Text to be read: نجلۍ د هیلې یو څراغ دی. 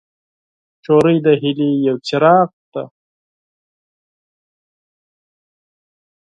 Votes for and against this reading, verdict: 4, 2, accepted